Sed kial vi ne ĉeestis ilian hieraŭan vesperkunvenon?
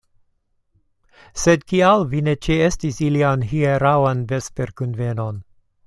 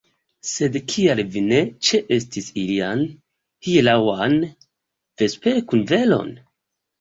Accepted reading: first